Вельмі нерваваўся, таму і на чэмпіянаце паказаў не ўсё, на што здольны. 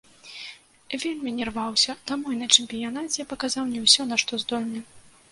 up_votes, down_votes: 0, 2